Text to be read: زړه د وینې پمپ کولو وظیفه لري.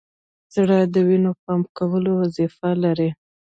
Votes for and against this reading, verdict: 1, 2, rejected